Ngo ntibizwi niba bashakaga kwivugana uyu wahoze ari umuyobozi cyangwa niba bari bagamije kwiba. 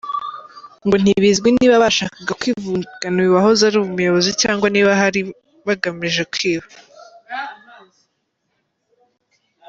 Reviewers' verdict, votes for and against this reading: rejected, 1, 2